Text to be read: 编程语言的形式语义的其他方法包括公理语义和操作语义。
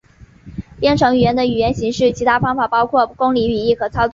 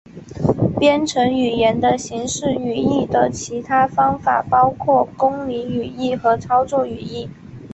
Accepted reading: second